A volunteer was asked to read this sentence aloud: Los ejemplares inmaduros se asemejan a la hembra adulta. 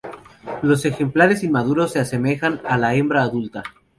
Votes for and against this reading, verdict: 4, 0, accepted